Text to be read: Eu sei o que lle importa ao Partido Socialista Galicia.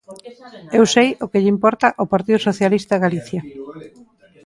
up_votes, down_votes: 1, 2